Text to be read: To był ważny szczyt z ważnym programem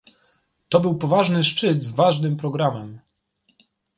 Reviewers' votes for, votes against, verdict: 0, 2, rejected